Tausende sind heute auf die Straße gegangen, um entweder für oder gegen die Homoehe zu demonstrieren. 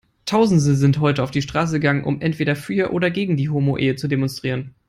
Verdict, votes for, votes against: rejected, 1, 3